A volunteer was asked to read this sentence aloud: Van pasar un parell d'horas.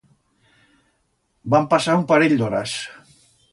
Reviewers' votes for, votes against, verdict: 2, 0, accepted